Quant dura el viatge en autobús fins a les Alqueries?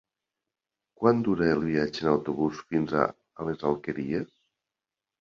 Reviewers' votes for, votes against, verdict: 3, 0, accepted